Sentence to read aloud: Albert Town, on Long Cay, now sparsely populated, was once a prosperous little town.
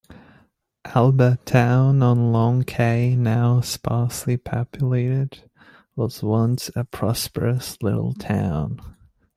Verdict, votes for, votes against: rejected, 0, 2